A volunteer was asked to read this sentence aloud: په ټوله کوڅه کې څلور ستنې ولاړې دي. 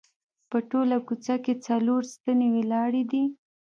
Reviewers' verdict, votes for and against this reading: accepted, 2, 0